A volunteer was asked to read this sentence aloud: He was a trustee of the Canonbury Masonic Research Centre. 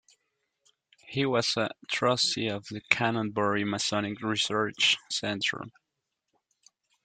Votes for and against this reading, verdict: 0, 2, rejected